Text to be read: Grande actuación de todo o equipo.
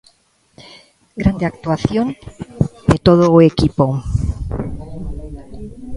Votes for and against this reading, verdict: 2, 0, accepted